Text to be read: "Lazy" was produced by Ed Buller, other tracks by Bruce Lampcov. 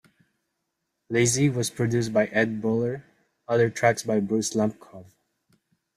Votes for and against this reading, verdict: 2, 1, accepted